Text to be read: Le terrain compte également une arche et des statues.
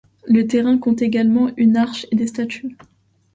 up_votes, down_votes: 2, 0